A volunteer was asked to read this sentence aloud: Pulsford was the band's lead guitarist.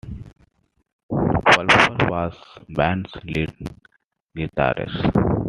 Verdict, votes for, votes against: accepted, 2, 0